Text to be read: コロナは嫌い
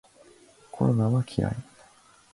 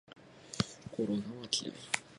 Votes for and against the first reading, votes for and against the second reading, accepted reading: 5, 1, 2, 2, first